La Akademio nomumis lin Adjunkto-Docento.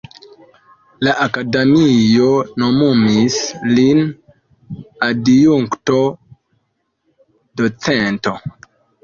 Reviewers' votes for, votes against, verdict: 1, 2, rejected